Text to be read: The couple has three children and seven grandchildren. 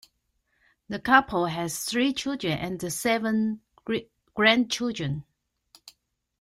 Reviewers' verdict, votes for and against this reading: rejected, 1, 2